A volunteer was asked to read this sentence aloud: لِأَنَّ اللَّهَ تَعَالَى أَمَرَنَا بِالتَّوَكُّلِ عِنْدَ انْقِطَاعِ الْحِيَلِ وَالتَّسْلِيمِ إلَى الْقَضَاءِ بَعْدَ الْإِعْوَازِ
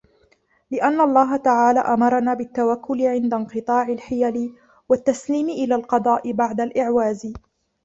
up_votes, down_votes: 1, 2